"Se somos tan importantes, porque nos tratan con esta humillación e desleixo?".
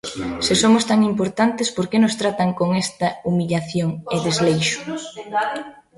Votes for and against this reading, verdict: 1, 2, rejected